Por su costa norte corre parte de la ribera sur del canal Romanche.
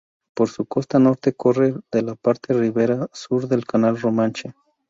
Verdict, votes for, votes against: rejected, 0, 2